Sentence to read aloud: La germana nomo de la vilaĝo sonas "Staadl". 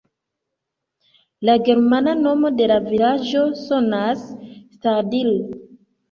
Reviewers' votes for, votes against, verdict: 0, 2, rejected